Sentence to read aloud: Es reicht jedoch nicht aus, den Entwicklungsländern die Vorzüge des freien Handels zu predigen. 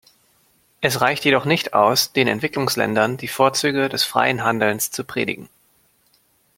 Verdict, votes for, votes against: rejected, 1, 2